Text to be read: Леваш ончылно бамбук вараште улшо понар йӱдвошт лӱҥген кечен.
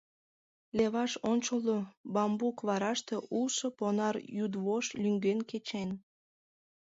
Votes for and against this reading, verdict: 2, 0, accepted